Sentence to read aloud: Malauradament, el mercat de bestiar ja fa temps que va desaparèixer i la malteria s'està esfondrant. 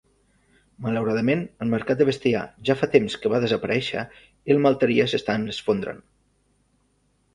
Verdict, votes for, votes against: rejected, 0, 2